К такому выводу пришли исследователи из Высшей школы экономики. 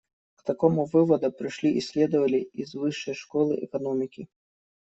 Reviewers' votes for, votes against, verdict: 0, 2, rejected